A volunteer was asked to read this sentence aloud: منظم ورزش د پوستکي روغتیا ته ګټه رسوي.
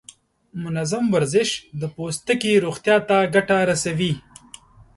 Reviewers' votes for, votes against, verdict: 2, 0, accepted